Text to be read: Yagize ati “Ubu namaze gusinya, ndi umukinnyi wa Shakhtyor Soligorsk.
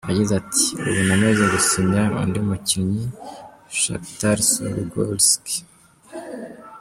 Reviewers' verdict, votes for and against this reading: rejected, 0, 2